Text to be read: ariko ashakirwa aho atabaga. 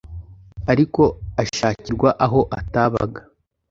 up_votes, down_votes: 2, 0